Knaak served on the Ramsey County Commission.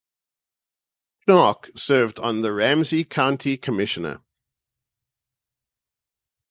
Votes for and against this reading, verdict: 0, 2, rejected